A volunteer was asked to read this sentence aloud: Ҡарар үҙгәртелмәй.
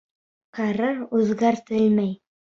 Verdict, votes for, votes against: accepted, 2, 1